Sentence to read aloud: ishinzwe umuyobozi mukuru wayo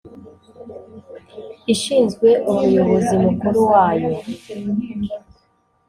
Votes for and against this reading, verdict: 2, 0, accepted